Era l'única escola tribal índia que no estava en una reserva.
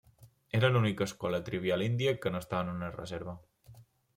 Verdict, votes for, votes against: rejected, 1, 2